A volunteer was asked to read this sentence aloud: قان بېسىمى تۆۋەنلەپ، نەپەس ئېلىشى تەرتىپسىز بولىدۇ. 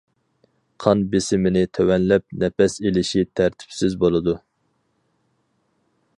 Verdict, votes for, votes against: rejected, 2, 4